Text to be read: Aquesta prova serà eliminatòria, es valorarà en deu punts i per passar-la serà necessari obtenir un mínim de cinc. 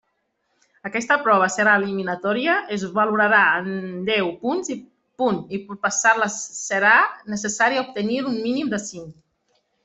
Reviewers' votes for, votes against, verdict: 0, 2, rejected